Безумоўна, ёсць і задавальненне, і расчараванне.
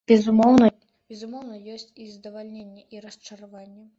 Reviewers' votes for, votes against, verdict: 0, 2, rejected